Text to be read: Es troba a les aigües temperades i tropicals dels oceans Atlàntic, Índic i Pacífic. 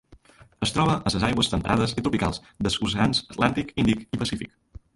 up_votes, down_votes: 0, 2